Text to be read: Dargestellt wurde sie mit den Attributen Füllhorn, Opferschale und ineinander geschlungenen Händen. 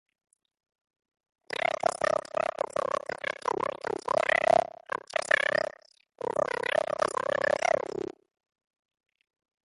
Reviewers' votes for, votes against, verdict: 0, 2, rejected